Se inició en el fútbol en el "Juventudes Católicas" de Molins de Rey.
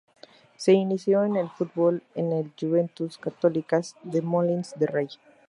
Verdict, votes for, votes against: rejected, 0, 2